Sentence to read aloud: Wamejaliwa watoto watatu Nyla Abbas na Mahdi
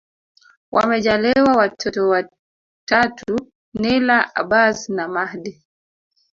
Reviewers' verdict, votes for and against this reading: accepted, 2, 0